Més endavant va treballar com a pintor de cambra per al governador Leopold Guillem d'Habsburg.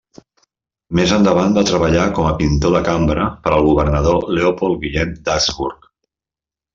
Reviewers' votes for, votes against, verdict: 2, 0, accepted